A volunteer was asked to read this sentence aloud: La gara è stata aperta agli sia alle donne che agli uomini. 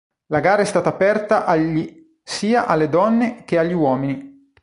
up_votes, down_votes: 2, 0